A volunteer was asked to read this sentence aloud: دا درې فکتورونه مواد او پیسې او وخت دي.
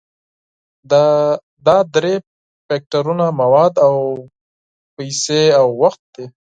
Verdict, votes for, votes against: accepted, 4, 0